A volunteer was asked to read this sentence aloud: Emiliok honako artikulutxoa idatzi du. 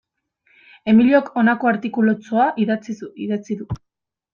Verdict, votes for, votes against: rejected, 0, 2